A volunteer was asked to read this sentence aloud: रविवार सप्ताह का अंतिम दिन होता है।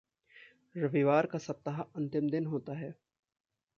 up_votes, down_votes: 1, 2